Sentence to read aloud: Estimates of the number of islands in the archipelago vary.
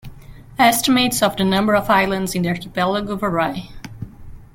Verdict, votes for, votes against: rejected, 1, 2